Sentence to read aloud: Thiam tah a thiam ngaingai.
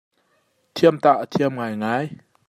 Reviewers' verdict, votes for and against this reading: accepted, 2, 0